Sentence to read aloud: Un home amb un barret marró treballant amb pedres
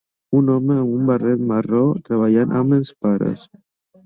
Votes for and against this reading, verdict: 0, 2, rejected